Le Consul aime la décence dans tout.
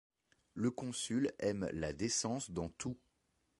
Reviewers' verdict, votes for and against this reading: accepted, 2, 0